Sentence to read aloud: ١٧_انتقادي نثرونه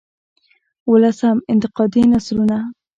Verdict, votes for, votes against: rejected, 0, 2